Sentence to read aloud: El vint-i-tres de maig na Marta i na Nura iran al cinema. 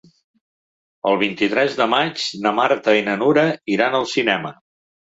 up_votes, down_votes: 3, 0